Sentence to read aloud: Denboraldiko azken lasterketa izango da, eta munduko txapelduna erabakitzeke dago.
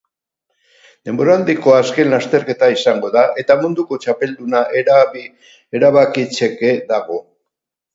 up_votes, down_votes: 6, 8